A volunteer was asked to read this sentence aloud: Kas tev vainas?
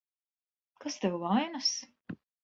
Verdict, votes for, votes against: accepted, 2, 1